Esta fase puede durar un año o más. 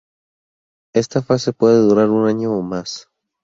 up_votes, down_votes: 0, 2